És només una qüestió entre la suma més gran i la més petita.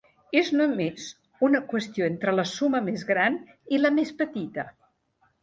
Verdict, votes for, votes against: accepted, 4, 0